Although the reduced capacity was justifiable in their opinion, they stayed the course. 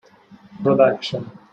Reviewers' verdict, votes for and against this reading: rejected, 0, 2